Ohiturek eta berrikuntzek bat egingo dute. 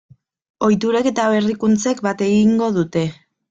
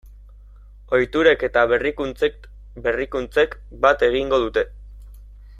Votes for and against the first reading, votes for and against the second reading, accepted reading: 2, 0, 0, 2, first